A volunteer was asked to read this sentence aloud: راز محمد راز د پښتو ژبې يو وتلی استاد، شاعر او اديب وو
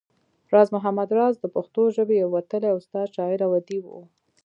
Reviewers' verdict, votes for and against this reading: accepted, 2, 0